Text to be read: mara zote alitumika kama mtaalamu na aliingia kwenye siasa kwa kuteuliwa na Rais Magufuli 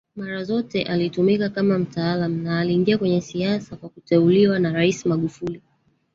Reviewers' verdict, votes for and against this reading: rejected, 1, 2